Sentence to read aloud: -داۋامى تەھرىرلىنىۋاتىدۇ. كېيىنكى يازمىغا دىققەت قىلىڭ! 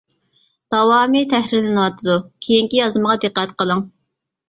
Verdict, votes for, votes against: accepted, 2, 0